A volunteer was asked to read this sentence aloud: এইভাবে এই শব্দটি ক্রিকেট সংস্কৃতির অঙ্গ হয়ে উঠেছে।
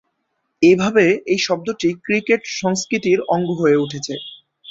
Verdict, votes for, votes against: accepted, 2, 0